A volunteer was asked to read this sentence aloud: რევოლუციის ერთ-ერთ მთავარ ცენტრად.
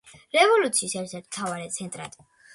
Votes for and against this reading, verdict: 2, 0, accepted